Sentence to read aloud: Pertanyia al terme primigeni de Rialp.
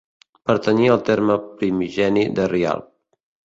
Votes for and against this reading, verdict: 2, 0, accepted